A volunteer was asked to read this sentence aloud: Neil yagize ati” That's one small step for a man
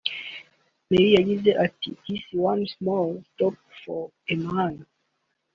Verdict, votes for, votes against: rejected, 1, 2